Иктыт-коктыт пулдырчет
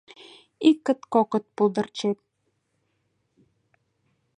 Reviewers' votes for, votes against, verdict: 0, 2, rejected